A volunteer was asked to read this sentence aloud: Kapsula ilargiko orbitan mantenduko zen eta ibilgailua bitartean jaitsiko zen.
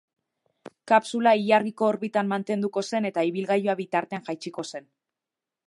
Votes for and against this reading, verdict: 2, 0, accepted